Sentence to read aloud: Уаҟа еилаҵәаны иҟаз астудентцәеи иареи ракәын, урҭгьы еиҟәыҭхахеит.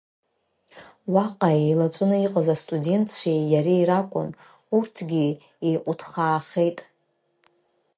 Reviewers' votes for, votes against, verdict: 0, 2, rejected